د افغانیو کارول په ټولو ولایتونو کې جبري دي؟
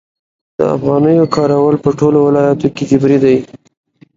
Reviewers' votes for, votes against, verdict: 2, 0, accepted